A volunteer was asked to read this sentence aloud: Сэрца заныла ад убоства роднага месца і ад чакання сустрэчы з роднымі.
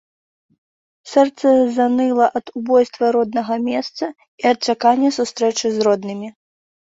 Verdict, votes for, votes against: rejected, 0, 2